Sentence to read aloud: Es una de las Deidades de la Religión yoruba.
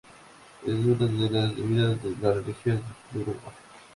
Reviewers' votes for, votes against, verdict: 2, 0, accepted